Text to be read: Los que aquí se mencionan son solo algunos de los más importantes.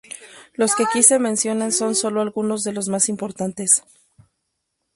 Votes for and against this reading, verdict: 2, 0, accepted